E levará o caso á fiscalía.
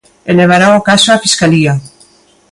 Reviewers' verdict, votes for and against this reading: accepted, 2, 0